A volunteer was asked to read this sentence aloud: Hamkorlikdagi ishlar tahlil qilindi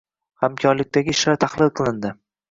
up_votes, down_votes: 1, 2